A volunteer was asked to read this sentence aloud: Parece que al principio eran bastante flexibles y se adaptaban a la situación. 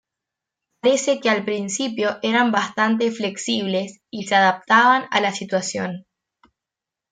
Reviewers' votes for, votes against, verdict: 2, 1, accepted